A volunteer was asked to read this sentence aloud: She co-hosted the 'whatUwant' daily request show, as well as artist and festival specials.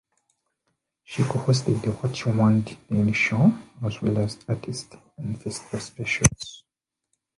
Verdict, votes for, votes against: rejected, 0, 2